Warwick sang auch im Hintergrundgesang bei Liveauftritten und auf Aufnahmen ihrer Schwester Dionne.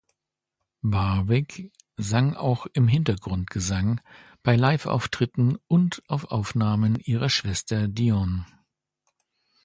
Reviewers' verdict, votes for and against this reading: accepted, 2, 1